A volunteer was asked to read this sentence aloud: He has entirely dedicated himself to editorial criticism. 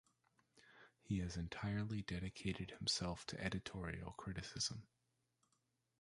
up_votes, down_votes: 2, 0